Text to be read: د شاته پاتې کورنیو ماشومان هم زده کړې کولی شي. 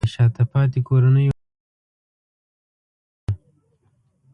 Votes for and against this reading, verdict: 0, 2, rejected